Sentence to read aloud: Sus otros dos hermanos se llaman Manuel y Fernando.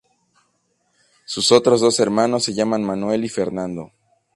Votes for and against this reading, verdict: 2, 0, accepted